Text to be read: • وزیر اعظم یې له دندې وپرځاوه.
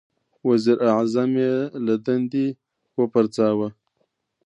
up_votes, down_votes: 2, 0